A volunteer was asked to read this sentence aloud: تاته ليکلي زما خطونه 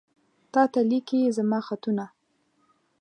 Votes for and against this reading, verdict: 1, 2, rejected